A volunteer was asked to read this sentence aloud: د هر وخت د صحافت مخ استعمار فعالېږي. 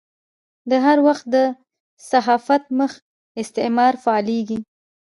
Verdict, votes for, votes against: rejected, 0, 2